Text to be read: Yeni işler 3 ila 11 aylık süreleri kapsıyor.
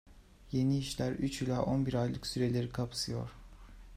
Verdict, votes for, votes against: rejected, 0, 2